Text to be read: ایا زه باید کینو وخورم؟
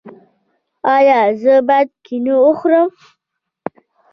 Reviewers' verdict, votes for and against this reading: rejected, 1, 2